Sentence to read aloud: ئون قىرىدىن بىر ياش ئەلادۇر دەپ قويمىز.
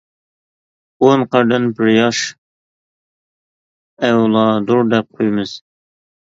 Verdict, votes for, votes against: rejected, 0, 2